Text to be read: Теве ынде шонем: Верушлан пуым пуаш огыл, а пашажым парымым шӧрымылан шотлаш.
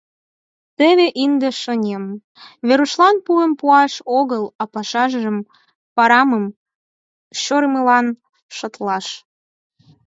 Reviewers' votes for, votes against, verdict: 2, 4, rejected